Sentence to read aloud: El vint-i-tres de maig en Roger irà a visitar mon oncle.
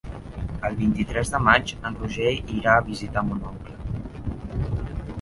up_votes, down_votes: 0, 2